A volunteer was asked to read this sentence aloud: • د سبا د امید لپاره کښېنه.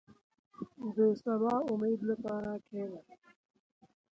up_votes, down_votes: 2, 0